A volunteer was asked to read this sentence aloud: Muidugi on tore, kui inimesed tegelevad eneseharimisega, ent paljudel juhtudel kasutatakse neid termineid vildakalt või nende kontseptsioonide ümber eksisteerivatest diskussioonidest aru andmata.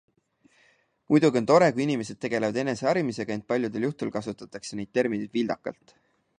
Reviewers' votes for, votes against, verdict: 0, 2, rejected